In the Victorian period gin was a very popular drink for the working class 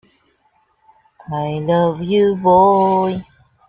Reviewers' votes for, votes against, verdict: 0, 2, rejected